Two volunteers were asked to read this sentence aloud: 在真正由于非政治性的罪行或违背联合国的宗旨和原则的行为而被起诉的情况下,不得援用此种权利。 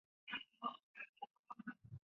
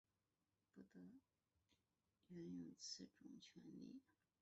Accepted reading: first